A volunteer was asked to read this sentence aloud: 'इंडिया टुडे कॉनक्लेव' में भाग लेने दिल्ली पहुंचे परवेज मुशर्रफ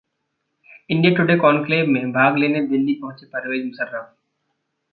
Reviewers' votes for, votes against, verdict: 1, 2, rejected